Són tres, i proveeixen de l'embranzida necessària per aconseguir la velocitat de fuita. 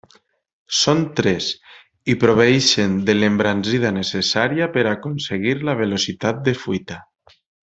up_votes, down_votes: 1, 2